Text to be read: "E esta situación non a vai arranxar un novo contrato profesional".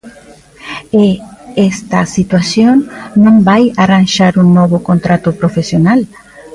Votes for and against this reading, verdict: 0, 2, rejected